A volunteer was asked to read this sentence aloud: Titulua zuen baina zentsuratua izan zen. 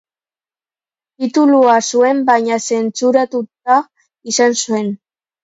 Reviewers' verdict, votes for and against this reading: rejected, 1, 2